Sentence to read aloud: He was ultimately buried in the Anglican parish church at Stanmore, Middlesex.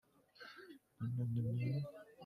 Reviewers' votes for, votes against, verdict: 0, 2, rejected